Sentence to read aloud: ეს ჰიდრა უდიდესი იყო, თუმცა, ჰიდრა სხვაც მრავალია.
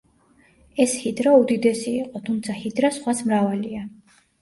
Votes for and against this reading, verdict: 3, 0, accepted